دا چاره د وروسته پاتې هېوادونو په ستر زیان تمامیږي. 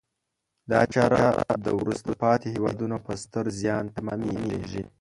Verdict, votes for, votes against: rejected, 1, 2